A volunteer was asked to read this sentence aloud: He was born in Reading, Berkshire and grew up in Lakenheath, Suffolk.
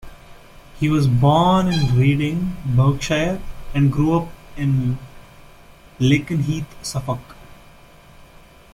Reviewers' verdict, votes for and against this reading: accepted, 2, 0